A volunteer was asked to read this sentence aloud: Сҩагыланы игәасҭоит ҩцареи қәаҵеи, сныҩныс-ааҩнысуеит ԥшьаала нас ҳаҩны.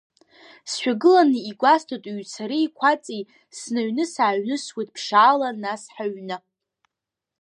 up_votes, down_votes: 0, 2